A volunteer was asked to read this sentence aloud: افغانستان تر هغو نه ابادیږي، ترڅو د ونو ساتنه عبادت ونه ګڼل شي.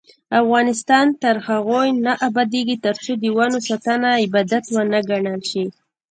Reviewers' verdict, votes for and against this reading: rejected, 1, 2